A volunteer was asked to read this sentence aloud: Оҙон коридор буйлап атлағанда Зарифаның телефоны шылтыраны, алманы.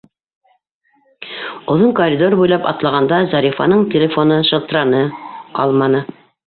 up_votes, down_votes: 2, 0